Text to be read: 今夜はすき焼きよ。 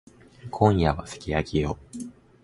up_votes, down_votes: 2, 0